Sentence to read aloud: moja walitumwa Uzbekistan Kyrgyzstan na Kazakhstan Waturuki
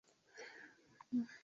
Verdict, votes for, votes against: rejected, 3, 11